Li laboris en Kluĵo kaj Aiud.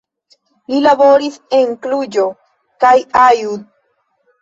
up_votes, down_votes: 1, 2